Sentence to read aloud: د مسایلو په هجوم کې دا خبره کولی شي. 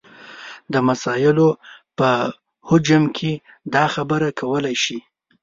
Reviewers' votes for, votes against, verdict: 1, 2, rejected